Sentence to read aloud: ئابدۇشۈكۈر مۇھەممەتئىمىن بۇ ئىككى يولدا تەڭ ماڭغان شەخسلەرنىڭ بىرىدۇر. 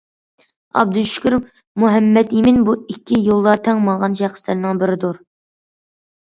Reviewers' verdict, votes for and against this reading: accepted, 2, 0